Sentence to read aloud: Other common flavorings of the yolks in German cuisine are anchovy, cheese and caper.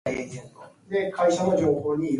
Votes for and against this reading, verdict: 0, 2, rejected